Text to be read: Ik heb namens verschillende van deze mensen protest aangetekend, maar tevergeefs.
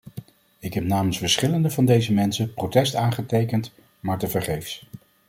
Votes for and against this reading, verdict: 2, 0, accepted